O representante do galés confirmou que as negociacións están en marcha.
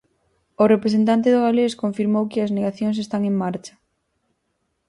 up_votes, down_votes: 2, 4